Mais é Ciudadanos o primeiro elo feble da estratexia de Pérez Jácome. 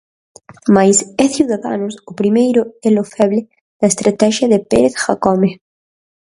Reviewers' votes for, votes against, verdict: 0, 4, rejected